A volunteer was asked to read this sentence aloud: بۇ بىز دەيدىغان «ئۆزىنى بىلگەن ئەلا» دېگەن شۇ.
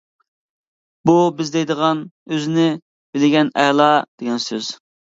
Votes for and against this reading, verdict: 0, 3, rejected